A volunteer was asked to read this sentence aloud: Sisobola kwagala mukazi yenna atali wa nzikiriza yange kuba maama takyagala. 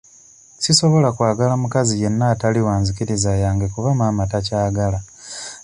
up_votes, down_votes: 2, 0